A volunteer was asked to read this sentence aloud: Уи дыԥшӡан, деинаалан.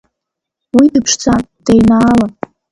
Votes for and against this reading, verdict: 1, 3, rejected